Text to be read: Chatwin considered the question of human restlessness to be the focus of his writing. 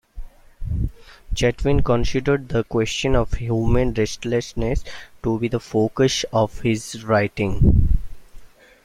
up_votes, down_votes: 2, 0